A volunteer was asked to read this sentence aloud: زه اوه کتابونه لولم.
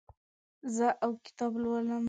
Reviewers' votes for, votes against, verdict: 1, 2, rejected